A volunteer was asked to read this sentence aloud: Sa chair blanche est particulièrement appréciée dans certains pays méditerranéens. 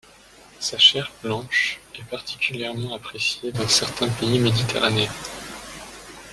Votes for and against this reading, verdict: 1, 2, rejected